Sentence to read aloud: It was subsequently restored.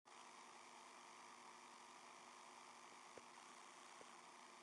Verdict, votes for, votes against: rejected, 0, 2